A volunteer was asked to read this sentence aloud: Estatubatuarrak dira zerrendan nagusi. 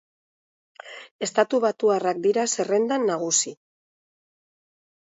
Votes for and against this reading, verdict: 2, 0, accepted